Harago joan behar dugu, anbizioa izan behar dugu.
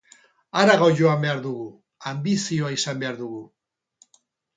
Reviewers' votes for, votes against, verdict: 2, 0, accepted